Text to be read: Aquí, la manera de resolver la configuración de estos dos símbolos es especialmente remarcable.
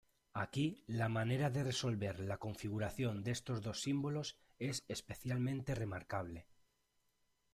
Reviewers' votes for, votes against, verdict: 1, 2, rejected